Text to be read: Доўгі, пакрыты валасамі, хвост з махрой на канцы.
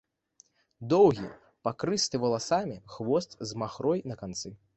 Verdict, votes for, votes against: rejected, 0, 2